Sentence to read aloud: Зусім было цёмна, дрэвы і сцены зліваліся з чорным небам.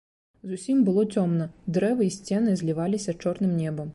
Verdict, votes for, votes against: rejected, 0, 2